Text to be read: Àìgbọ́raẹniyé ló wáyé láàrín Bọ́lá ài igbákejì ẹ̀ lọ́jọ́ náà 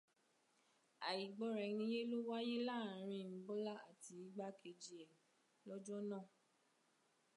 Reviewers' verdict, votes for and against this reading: accepted, 2, 0